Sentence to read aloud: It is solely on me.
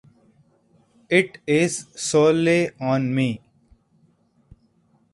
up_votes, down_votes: 2, 4